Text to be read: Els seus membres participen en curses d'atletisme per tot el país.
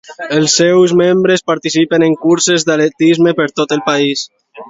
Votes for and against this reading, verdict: 2, 0, accepted